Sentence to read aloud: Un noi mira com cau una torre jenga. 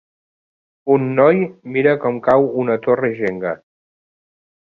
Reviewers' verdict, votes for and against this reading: accepted, 3, 0